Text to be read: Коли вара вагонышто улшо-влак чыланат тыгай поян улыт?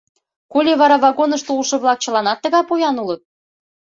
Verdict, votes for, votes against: accepted, 2, 0